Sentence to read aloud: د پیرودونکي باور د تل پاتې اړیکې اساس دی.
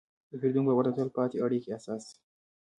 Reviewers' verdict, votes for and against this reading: rejected, 0, 2